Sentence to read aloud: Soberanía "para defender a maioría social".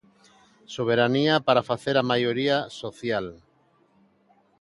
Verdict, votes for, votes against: rejected, 0, 2